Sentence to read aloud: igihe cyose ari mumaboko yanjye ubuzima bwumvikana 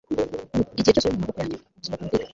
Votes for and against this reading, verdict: 1, 2, rejected